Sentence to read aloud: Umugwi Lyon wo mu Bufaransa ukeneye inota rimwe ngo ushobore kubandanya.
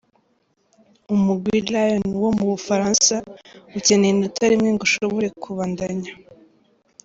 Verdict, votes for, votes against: accepted, 2, 0